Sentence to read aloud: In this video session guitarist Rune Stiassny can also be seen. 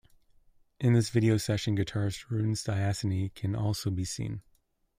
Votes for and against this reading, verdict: 1, 2, rejected